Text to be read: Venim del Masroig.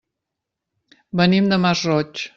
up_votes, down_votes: 0, 2